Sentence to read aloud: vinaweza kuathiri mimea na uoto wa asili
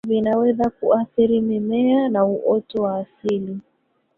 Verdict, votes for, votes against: rejected, 0, 2